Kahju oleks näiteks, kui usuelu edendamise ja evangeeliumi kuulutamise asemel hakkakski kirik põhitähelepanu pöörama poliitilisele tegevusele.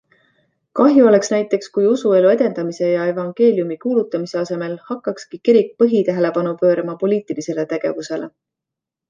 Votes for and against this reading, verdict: 2, 0, accepted